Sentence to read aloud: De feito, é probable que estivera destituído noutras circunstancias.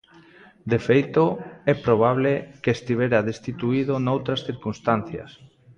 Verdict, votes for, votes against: rejected, 1, 2